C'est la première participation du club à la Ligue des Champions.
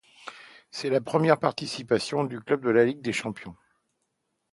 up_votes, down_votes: 1, 2